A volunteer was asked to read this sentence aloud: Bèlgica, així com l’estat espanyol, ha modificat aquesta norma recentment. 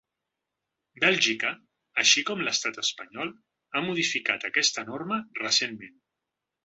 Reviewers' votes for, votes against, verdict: 3, 0, accepted